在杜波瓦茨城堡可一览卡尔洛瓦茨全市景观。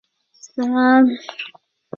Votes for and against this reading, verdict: 1, 4, rejected